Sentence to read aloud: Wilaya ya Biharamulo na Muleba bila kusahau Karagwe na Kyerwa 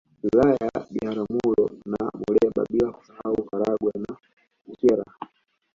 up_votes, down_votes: 0, 2